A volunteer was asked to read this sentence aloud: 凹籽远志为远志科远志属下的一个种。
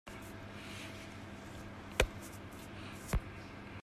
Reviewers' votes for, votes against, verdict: 1, 2, rejected